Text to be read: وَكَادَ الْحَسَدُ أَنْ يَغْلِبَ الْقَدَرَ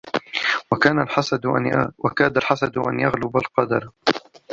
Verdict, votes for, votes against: rejected, 0, 2